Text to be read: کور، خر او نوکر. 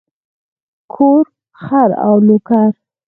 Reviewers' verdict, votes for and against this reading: rejected, 2, 4